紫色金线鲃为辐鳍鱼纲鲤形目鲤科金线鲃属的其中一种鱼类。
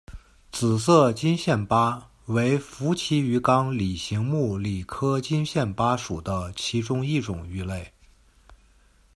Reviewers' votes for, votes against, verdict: 2, 0, accepted